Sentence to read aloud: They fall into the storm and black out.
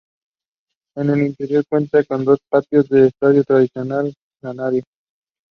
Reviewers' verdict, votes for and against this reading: rejected, 0, 2